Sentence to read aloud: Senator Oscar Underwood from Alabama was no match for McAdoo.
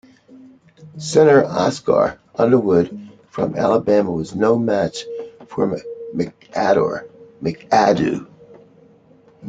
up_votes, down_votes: 0, 2